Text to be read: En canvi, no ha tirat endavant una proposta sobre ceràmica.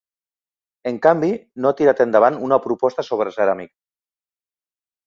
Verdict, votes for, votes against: rejected, 0, 3